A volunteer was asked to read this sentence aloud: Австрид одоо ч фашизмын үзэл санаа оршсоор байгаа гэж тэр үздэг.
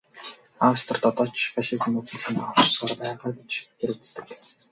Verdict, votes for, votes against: rejected, 0, 2